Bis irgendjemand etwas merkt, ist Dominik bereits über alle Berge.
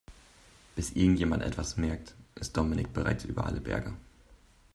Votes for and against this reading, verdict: 3, 0, accepted